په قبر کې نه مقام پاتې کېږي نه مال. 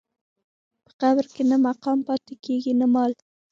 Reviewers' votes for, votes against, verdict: 1, 2, rejected